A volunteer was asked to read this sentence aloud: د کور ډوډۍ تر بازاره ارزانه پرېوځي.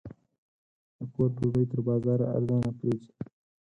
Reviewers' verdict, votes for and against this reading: rejected, 2, 4